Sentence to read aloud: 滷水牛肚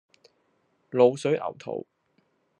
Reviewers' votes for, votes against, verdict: 0, 2, rejected